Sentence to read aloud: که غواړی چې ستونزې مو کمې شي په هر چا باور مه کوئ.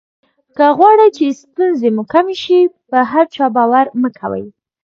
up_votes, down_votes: 2, 1